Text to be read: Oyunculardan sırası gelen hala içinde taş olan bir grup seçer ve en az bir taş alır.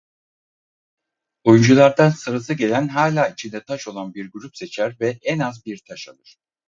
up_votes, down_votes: 4, 0